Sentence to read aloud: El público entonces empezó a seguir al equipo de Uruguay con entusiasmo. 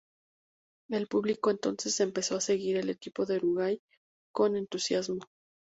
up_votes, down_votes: 6, 0